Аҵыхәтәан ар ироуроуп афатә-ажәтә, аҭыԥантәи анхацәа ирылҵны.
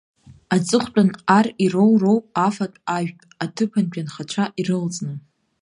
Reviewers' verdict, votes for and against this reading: accepted, 2, 0